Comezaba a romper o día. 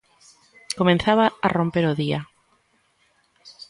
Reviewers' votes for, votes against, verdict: 1, 2, rejected